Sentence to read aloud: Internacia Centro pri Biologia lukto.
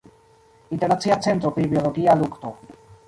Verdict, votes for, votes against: rejected, 1, 2